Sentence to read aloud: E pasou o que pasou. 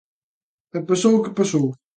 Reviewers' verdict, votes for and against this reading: accepted, 2, 0